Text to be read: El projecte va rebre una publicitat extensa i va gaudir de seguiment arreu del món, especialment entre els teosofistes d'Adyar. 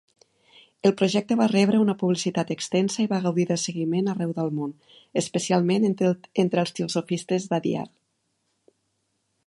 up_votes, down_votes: 0, 2